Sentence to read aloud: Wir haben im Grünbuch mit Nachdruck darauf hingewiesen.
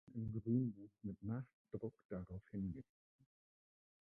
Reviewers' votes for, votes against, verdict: 0, 2, rejected